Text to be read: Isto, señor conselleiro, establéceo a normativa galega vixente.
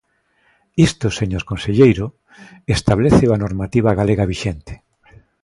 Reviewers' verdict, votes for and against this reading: accepted, 2, 0